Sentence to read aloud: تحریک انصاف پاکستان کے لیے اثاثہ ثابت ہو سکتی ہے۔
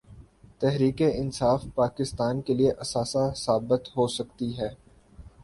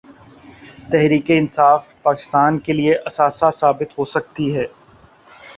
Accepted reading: second